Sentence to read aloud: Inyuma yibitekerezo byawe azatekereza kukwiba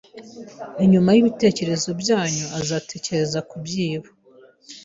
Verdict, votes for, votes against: rejected, 1, 2